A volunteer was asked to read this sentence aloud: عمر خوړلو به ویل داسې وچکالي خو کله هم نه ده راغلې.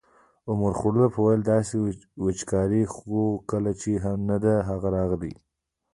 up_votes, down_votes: 0, 2